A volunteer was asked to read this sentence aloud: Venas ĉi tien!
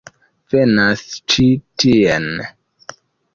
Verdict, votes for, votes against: rejected, 0, 2